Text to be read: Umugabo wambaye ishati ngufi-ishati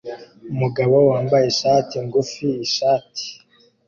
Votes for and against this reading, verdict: 2, 0, accepted